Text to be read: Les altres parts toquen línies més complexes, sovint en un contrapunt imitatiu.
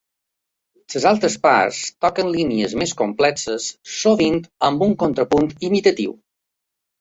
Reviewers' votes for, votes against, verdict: 2, 1, accepted